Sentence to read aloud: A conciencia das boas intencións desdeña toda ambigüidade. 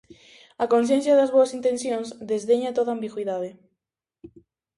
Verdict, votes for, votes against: accepted, 2, 0